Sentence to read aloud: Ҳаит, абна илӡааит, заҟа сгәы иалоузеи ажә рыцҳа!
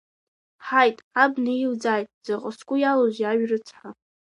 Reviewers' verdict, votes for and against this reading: accepted, 2, 0